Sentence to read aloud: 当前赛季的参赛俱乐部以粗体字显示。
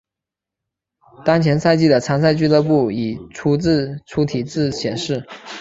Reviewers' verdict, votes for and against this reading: accepted, 4, 0